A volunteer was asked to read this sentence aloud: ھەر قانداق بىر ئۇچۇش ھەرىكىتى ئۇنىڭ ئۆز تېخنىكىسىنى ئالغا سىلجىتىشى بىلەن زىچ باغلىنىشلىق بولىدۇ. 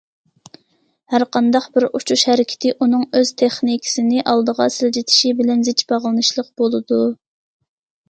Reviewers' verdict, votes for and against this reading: accepted, 2, 0